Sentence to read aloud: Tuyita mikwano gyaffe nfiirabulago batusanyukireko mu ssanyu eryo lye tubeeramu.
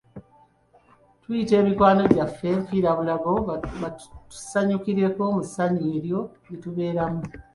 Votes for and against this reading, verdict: 0, 2, rejected